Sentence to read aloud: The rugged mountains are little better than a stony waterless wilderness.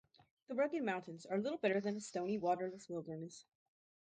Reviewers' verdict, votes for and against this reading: rejected, 2, 2